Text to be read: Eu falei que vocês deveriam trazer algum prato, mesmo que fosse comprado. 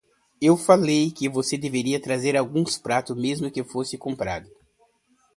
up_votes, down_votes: 0, 2